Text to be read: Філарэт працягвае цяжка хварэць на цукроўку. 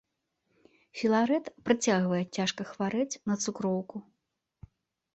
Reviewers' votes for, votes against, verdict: 2, 0, accepted